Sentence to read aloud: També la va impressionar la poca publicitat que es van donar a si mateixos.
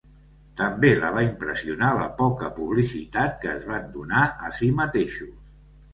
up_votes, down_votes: 3, 0